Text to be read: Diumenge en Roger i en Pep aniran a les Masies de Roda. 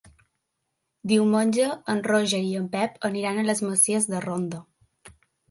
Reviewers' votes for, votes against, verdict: 1, 2, rejected